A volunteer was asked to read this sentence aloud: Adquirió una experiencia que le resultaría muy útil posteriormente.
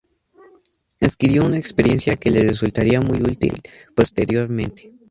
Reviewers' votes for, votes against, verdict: 2, 0, accepted